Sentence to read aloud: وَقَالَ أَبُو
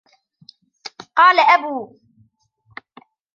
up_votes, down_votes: 1, 2